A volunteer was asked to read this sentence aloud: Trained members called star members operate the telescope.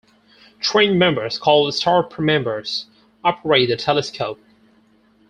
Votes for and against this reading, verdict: 0, 4, rejected